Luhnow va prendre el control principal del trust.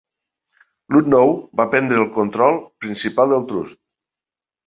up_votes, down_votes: 4, 1